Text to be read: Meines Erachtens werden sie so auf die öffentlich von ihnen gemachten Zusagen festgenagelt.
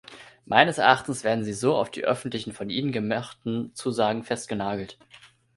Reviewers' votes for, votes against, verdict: 0, 2, rejected